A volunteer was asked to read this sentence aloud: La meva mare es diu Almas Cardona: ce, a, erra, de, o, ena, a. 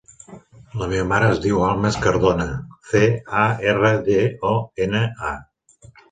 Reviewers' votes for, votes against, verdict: 2, 0, accepted